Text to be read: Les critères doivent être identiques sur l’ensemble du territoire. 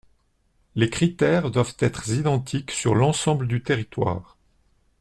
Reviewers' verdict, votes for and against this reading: accepted, 2, 0